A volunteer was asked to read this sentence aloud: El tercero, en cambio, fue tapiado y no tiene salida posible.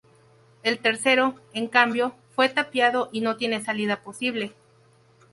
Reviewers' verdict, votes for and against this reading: accepted, 2, 0